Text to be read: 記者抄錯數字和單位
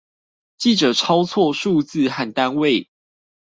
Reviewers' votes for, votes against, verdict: 0, 2, rejected